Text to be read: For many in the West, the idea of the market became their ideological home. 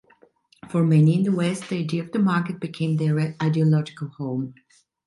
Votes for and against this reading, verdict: 2, 0, accepted